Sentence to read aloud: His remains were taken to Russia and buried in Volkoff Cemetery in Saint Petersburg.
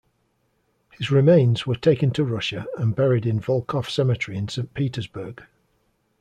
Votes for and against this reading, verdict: 2, 0, accepted